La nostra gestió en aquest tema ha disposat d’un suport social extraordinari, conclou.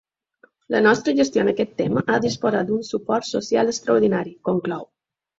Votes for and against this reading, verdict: 2, 3, rejected